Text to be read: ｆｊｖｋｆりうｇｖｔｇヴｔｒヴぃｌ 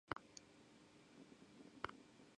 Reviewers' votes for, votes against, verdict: 2, 2, rejected